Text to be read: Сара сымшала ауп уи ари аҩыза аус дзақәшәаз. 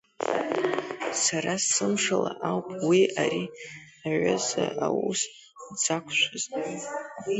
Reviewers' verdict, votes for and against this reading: rejected, 1, 2